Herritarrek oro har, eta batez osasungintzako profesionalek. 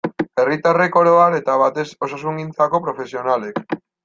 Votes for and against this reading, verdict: 2, 0, accepted